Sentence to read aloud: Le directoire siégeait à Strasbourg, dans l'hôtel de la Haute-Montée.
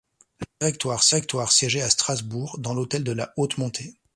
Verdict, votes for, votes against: rejected, 1, 2